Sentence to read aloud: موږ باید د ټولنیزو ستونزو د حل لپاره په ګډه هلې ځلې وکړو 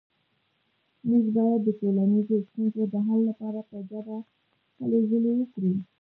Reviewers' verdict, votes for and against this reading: rejected, 1, 2